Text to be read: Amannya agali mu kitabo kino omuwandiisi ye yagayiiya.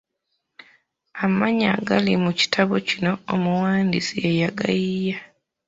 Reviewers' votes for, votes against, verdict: 1, 2, rejected